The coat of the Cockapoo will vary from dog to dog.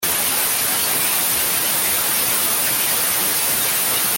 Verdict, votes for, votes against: rejected, 0, 2